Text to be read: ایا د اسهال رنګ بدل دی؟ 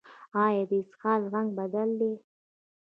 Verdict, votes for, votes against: rejected, 1, 2